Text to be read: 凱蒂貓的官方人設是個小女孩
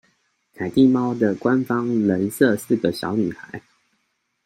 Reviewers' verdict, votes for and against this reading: accepted, 2, 0